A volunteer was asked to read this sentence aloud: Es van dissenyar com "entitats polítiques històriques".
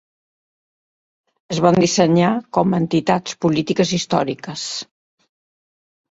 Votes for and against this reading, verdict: 2, 0, accepted